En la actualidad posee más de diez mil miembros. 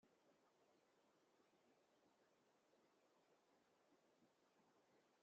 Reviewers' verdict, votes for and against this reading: rejected, 0, 2